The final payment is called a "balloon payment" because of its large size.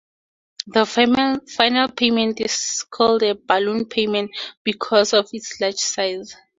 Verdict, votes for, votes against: accepted, 2, 0